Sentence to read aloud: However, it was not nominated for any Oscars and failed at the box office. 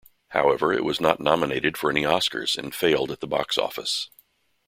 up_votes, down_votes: 2, 0